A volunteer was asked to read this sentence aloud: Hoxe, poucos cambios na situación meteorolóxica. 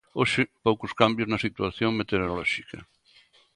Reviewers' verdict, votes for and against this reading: accepted, 2, 0